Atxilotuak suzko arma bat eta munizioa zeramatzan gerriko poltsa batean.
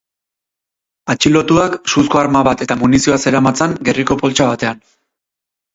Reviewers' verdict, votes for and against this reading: accepted, 6, 0